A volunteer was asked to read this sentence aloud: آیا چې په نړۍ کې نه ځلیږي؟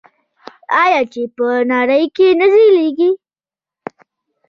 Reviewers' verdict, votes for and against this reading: rejected, 1, 2